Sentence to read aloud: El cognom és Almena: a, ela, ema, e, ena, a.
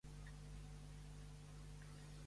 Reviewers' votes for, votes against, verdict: 0, 2, rejected